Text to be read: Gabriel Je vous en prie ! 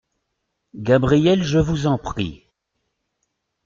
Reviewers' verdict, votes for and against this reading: accepted, 2, 0